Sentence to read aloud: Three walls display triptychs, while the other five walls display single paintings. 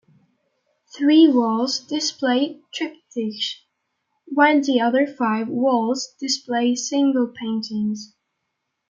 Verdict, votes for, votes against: rejected, 1, 2